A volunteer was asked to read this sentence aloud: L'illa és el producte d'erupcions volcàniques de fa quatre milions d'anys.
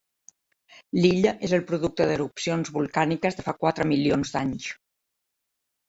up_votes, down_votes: 1, 2